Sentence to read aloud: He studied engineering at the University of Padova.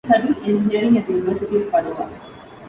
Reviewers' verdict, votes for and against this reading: rejected, 0, 2